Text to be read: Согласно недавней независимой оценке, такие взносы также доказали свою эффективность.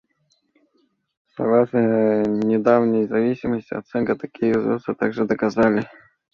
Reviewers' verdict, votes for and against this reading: rejected, 0, 2